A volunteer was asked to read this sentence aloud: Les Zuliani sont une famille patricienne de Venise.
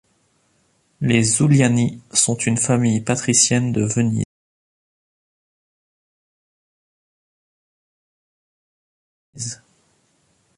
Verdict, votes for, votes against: rejected, 0, 2